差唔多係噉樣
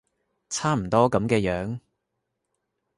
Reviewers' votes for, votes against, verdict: 0, 2, rejected